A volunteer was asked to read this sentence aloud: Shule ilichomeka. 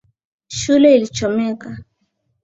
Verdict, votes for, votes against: accepted, 3, 0